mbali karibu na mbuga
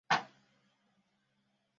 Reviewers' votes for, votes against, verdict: 0, 2, rejected